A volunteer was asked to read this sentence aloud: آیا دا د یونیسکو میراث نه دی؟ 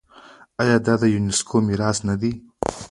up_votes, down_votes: 0, 2